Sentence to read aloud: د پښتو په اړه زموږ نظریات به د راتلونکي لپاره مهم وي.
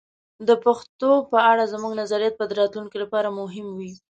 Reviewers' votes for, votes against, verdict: 2, 0, accepted